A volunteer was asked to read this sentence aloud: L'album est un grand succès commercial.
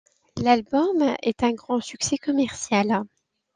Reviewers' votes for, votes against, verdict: 2, 0, accepted